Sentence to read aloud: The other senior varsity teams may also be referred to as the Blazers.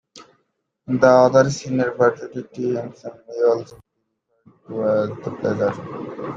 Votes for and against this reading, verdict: 0, 2, rejected